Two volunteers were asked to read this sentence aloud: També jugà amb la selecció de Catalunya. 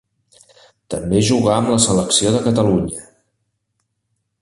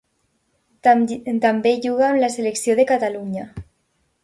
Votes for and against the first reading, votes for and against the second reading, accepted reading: 3, 0, 0, 2, first